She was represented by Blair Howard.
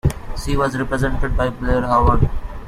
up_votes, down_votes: 2, 0